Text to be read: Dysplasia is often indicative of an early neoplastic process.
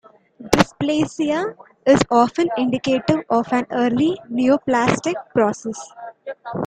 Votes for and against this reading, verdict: 2, 0, accepted